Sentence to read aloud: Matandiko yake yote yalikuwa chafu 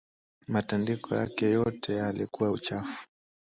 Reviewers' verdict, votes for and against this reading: accepted, 3, 2